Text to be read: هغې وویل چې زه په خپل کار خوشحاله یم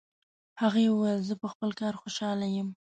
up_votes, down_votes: 2, 1